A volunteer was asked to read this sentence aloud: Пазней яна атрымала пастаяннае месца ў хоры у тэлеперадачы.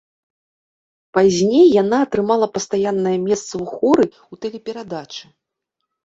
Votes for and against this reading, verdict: 2, 0, accepted